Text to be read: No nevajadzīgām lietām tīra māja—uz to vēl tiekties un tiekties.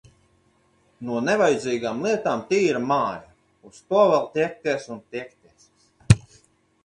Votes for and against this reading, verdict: 2, 4, rejected